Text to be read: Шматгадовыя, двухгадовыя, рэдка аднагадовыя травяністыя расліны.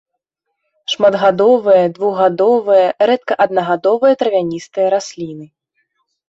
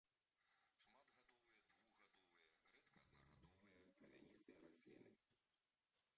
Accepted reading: first